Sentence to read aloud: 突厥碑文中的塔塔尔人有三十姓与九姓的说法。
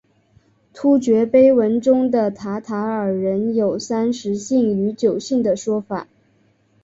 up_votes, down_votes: 6, 0